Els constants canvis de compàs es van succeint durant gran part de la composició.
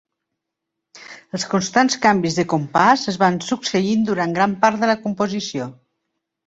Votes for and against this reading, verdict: 2, 0, accepted